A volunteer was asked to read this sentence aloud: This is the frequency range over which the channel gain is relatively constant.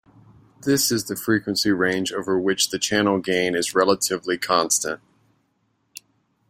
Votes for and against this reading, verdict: 2, 0, accepted